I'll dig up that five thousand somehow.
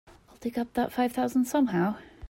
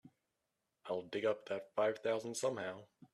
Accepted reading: second